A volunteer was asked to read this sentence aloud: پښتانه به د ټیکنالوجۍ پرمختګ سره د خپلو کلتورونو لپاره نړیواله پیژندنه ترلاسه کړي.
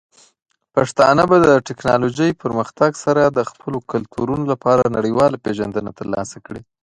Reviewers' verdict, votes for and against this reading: accepted, 3, 0